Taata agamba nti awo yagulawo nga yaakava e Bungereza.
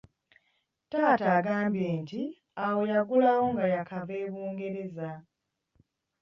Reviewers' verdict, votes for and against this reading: rejected, 1, 2